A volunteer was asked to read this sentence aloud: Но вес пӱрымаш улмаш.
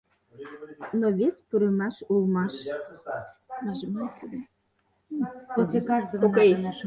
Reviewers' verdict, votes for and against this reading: rejected, 0, 4